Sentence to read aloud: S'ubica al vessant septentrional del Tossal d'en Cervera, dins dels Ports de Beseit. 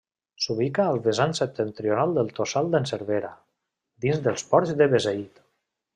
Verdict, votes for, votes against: rejected, 0, 2